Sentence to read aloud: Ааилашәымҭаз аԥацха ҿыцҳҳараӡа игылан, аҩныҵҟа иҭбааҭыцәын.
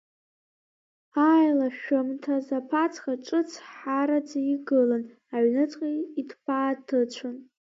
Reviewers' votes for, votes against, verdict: 1, 2, rejected